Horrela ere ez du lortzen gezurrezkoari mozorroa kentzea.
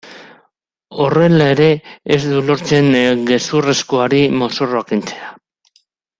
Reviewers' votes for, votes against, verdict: 1, 3, rejected